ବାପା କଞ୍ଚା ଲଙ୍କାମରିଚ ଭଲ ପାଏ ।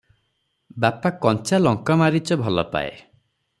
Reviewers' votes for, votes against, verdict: 3, 3, rejected